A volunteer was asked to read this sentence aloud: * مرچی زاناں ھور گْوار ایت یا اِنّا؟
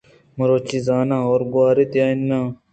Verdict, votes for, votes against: rejected, 0, 2